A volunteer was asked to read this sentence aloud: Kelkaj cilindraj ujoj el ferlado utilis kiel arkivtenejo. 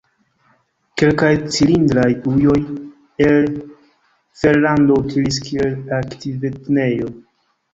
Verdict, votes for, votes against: rejected, 0, 2